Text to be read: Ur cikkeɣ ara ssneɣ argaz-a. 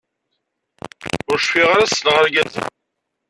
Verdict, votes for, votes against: rejected, 0, 2